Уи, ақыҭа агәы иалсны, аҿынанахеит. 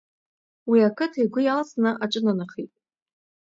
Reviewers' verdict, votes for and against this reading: accepted, 2, 0